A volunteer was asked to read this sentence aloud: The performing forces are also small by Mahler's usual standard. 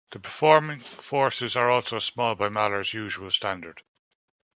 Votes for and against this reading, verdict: 2, 0, accepted